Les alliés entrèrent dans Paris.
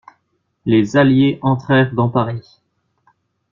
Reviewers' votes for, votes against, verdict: 2, 0, accepted